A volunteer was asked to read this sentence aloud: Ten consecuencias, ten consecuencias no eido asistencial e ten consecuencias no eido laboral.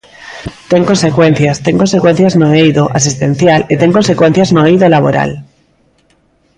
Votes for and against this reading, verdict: 2, 0, accepted